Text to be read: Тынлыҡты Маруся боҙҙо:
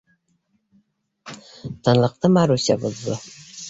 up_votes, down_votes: 2, 0